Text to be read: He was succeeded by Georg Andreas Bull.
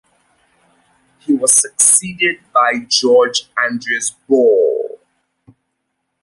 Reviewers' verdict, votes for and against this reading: accepted, 2, 1